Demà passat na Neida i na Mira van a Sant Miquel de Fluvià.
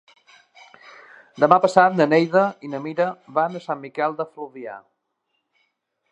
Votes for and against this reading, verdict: 4, 0, accepted